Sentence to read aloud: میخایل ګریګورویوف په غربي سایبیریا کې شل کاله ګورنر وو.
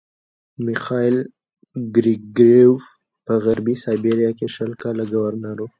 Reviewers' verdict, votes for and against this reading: accepted, 2, 1